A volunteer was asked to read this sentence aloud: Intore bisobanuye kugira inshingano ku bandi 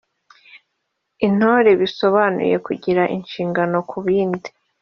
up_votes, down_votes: 0, 2